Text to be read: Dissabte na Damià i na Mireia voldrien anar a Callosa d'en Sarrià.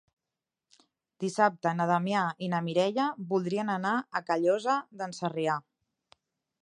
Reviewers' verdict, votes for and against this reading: accepted, 3, 0